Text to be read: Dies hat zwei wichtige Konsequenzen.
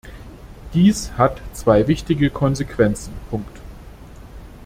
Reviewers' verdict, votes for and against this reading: rejected, 0, 2